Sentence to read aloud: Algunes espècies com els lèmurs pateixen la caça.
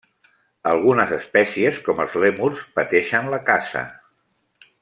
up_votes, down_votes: 3, 0